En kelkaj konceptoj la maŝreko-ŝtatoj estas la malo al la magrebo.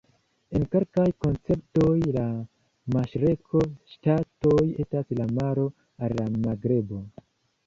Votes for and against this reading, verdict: 1, 2, rejected